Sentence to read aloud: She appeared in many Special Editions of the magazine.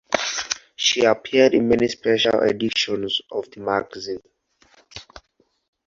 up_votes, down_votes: 4, 2